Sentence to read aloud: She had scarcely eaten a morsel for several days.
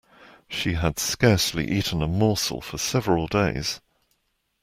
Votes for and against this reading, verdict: 2, 0, accepted